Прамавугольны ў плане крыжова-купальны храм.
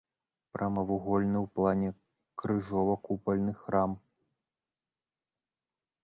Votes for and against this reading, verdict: 0, 2, rejected